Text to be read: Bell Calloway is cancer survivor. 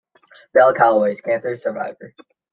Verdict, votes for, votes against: accepted, 2, 1